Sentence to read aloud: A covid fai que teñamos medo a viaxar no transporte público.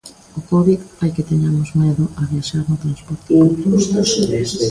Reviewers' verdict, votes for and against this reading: rejected, 0, 2